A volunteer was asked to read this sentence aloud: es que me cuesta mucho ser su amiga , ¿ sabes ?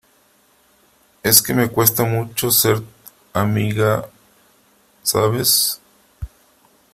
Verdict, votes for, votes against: rejected, 0, 3